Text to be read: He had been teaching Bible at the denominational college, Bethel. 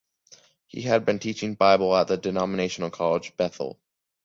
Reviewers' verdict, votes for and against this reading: accepted, 2, 0